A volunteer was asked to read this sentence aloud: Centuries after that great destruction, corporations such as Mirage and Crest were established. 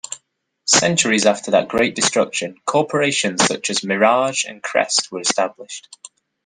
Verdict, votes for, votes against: accepted, 2, 1